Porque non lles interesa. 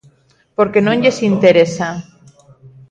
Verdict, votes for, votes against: rejected, 1, 2